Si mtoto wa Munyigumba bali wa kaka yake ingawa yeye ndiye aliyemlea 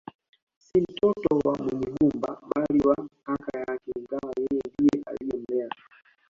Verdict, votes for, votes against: rejected, 0, 2